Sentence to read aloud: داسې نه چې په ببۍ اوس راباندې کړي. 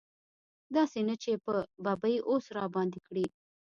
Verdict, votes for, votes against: rejected, 0, 2